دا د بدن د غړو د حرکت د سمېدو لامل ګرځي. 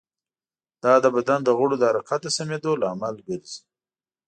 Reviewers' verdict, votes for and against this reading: accepted, 2, 0